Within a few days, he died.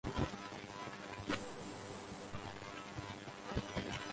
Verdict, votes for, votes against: rejected, 0, 4